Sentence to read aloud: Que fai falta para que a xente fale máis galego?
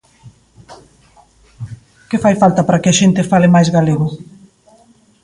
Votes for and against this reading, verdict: 2, 0, accepted